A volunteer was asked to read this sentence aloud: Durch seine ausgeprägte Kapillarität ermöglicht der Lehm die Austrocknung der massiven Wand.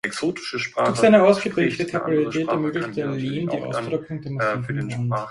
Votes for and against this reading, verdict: 0, 2, rejected